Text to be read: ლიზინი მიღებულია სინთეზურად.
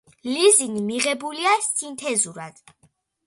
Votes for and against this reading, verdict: 2, 0, accepted